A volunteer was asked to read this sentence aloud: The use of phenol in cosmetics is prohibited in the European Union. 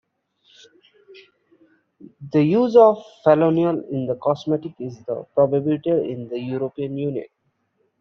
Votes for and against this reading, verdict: 2, 1, accepted